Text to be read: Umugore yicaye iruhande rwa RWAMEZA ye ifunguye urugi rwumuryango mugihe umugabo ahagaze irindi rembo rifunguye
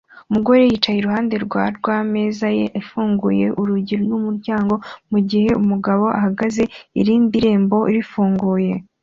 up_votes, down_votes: 2, 0